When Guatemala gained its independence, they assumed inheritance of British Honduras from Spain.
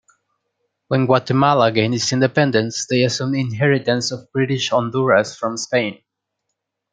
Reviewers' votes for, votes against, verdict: 2, 1, accepted